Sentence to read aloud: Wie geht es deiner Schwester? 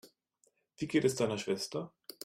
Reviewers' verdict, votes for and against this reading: accepted, 2, 0